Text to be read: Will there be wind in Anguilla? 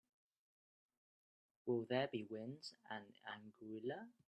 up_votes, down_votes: 0, 2